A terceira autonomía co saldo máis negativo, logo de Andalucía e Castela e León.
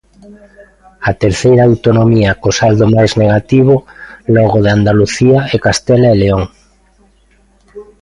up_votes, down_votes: 2, 1